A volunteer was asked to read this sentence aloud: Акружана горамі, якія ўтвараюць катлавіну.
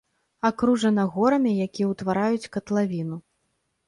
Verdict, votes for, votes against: accepted, 2, 0